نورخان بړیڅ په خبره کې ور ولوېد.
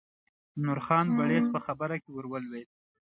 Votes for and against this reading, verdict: 2, 0, accepted